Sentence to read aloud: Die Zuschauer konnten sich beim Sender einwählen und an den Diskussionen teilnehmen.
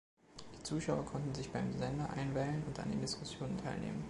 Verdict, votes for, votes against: accepted, 2, 0